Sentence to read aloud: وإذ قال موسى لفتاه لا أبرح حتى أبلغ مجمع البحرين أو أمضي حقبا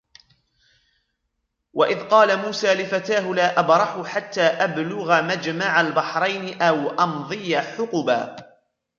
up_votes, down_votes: 3, 1